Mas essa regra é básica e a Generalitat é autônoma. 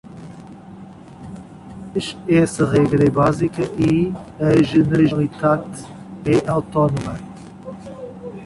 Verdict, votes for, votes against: rejected, 1, 2